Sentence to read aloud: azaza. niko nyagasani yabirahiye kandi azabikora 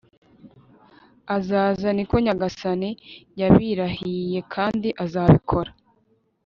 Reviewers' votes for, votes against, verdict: 2, 0, accepted